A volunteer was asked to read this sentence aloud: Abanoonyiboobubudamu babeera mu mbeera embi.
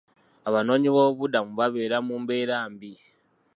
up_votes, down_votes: 0, 2